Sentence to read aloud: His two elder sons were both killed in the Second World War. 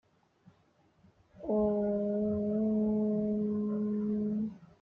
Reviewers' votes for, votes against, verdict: 0, 2, rejected